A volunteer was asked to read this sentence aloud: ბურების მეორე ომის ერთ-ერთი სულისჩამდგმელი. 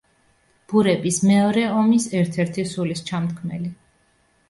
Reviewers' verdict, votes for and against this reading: accepted, 2, 0